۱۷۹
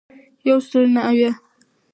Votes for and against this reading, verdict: 0, 2, rejected